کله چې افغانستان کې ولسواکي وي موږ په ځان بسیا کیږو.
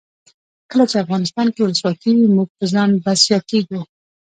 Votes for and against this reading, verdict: 2, 0, accepted